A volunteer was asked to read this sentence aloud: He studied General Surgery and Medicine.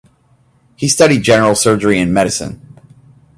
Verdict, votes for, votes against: accepted, 2, 0